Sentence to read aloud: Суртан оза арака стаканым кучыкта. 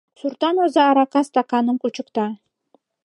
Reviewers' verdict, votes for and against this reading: accepted, 2, 0